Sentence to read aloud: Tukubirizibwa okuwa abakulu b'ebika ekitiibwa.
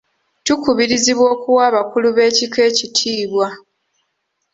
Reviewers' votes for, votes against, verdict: 2, 0, accepted